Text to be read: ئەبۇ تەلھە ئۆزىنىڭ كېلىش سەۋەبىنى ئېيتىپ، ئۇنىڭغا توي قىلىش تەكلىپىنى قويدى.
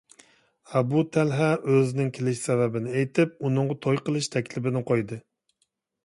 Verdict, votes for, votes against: accepted, 2, 0